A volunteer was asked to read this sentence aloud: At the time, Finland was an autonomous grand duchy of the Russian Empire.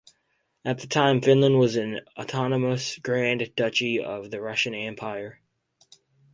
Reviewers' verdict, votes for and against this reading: accepted, 4, 0